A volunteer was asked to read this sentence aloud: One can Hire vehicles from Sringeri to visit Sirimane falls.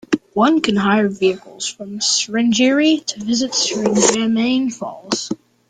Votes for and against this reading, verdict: 1, 3, rejected